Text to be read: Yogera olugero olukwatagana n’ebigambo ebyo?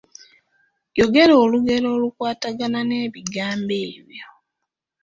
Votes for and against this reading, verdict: 2, 1, accepted